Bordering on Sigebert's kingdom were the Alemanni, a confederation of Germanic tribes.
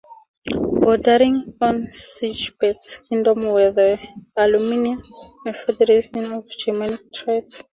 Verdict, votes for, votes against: accepted, 4, 2